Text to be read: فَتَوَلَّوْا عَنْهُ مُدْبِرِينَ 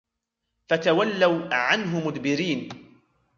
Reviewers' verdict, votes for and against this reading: accepted, 2, 1